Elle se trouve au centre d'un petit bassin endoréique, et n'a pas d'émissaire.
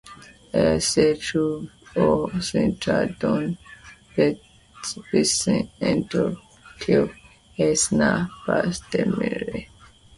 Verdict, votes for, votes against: rejected, 1, 2